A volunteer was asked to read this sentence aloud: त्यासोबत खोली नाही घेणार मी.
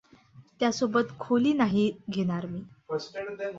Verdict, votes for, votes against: accepted, 2, 0